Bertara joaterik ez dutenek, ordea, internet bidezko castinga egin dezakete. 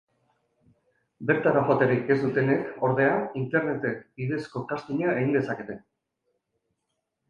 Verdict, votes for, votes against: rejected, 1, 2